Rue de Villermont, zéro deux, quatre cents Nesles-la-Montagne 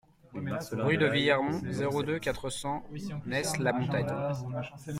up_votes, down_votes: 1, 2